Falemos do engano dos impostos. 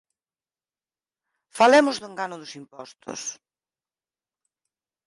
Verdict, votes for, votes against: rejected, 2, 4